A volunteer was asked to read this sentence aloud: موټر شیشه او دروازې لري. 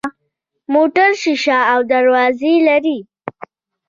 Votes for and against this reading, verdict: 1, 2, rejected